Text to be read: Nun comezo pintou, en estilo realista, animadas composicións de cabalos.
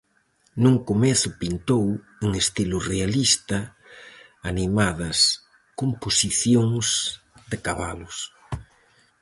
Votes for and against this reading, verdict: 4, 0, accepted